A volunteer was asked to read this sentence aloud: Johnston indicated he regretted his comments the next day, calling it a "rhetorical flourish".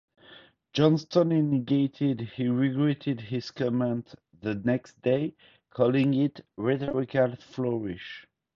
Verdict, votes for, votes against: rejected, 0, 2